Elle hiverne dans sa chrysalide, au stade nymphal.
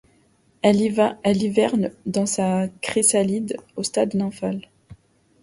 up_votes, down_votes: 0, 2